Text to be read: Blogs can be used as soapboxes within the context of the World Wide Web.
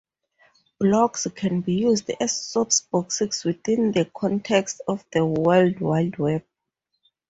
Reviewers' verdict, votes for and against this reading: rejected, 0, 4